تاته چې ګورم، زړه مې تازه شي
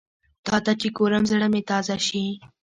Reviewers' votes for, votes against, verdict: 0, 2, rejected